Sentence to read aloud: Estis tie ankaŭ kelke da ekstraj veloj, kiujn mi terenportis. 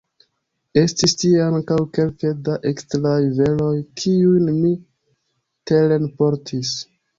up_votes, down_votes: 1, 3